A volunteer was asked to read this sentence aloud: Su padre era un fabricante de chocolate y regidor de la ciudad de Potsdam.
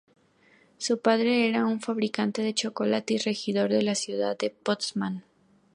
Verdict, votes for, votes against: accepted, 2, 0